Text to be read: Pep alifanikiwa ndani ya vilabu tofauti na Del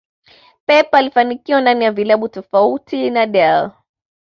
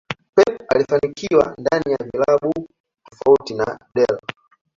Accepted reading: first